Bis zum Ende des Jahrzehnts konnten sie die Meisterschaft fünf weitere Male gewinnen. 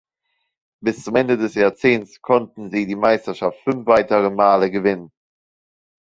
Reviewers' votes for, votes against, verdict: 3, 0, accepted